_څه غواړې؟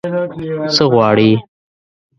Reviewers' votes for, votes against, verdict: 1, 2, rejected